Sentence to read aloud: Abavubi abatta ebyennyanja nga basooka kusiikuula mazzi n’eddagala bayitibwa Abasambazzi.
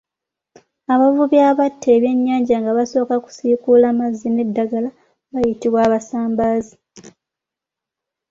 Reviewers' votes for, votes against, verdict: 0, 2, rejected